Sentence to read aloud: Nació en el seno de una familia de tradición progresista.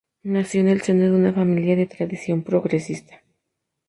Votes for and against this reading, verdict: 2, 0, accepted